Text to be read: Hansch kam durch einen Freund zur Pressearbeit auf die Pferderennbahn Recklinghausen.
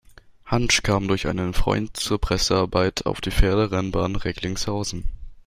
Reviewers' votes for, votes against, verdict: 1, 2, rejected